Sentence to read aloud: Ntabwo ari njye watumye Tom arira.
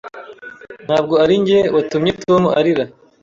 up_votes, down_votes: 2, 0